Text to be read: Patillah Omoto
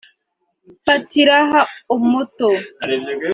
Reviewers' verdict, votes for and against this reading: rejected, 0, 2